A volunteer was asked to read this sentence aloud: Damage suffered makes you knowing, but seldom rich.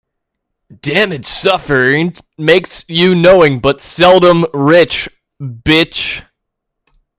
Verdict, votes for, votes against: rejected, 0, 2